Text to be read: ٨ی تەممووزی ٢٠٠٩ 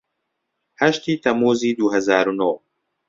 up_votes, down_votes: 0, 2